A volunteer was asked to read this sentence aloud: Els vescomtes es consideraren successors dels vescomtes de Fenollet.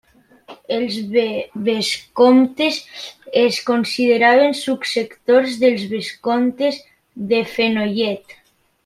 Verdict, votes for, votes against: rejected, 1, 2